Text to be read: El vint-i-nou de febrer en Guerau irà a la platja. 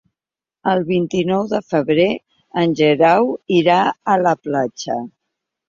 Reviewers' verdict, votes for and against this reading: rejected, 0, 2